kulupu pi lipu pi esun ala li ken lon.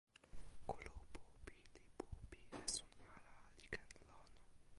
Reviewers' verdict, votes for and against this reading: rejected, 1, 2